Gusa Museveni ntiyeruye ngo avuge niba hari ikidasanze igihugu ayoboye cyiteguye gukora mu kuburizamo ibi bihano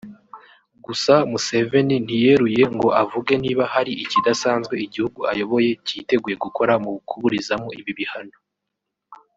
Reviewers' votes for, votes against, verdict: 1, 2, rejected